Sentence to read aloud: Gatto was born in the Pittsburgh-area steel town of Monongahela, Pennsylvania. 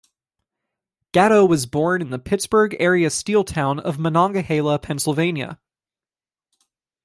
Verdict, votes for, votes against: accepted, 2, 0